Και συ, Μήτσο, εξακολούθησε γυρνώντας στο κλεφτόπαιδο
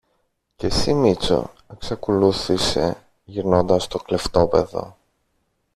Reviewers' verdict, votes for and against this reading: rejected, 1, 2